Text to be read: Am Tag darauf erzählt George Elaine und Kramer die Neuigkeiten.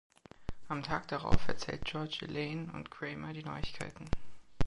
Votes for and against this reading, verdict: 3, 1, accepted